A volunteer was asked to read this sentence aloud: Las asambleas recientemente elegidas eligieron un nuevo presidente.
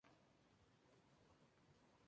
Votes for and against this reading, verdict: 0, 2, rejected